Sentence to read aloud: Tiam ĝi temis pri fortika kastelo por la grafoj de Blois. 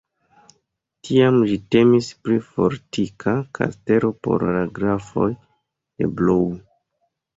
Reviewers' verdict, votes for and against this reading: rejected, 1, 2